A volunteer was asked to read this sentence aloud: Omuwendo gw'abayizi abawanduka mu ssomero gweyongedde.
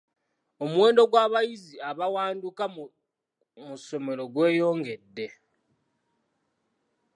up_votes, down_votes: 2, 0